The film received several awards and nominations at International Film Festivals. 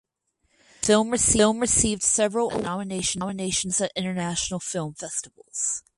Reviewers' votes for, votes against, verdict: 0, 6, rejected